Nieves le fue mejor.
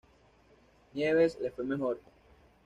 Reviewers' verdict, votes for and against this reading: accepted, 2, 0